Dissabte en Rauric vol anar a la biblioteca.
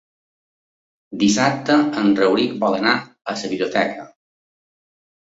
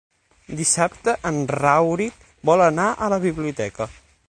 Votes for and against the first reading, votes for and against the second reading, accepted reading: 0, 2, 6, 0, second